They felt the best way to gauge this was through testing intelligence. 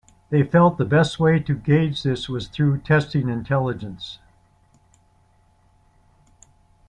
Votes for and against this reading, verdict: 2, 0, accepted